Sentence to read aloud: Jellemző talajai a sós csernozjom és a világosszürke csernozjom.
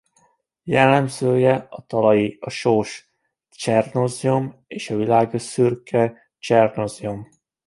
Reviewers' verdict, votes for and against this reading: rejected, 0, 2